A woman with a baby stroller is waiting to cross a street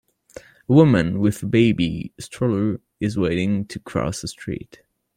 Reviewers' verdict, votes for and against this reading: rejected, 0, 2